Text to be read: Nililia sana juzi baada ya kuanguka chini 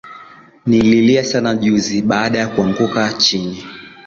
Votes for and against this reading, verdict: 0, 2, rejected